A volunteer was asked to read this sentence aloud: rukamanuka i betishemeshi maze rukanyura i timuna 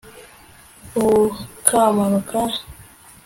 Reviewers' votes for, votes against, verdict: 1, 2, rejected